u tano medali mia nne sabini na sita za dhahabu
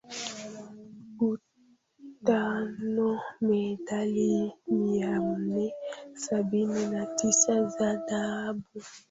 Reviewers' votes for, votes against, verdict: 0, 2, rejected